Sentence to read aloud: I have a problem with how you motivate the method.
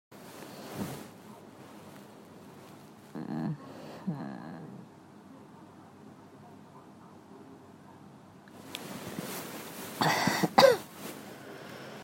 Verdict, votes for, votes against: rejected, 0, 2